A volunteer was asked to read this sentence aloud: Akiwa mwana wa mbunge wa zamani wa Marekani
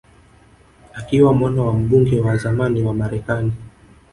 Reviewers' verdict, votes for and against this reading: rejected, 1, 2